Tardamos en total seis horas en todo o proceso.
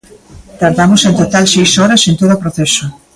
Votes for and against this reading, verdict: 2, 1, accepted